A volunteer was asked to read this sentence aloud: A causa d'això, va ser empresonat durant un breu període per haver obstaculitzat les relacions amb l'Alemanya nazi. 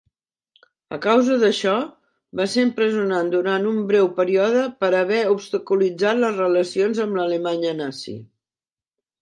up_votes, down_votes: 2, 0